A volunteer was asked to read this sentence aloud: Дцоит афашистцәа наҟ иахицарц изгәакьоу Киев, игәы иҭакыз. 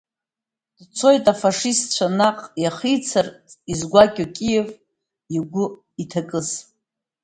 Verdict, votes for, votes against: accepted, 2, 0